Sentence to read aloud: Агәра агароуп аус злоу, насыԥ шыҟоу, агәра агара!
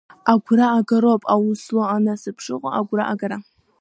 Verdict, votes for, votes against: rejected, 0, 2